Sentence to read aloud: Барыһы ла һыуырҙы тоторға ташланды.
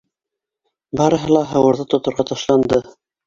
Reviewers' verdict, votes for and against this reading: rejected, 1, 2